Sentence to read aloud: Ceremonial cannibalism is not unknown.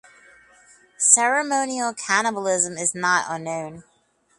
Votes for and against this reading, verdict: 4, 0, accepted